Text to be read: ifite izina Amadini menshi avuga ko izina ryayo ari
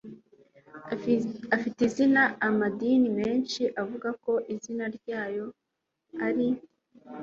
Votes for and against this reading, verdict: 1, 2, rejected